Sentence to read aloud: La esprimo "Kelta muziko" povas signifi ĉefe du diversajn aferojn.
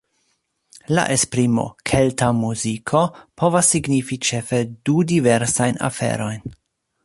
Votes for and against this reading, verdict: 1, 2, rejected